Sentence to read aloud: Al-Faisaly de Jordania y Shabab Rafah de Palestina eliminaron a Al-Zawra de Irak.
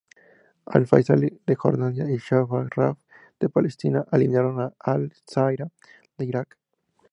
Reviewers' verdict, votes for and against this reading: accepted, 2, 0